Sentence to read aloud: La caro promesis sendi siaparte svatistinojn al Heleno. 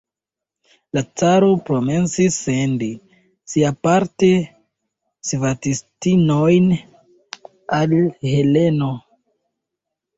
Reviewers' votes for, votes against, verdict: 0, 2, rejected